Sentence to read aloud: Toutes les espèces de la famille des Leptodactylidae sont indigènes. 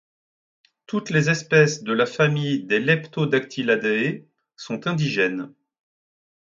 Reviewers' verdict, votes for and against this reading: accepted, 2, 1